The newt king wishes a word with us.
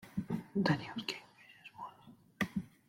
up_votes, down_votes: 0, 2